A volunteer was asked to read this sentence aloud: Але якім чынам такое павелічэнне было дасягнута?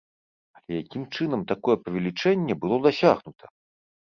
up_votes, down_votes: 1, 2